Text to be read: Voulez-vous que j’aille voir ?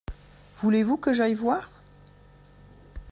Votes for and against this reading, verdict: 2, 0, accepted